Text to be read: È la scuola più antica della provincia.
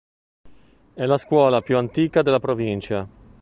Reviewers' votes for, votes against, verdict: 2, 0, accepted